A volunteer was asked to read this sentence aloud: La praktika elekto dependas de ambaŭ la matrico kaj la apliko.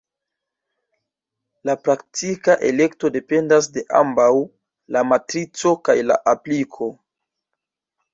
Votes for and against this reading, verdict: 2, 1, accepted